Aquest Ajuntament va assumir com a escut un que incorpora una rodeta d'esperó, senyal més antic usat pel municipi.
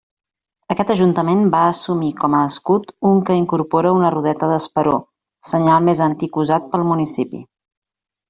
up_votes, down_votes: 3, 0